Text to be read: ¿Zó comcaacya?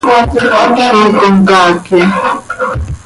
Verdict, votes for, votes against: rejected, 1, 2